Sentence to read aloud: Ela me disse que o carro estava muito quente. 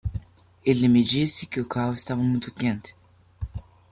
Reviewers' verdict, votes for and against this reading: rejected, 0, 2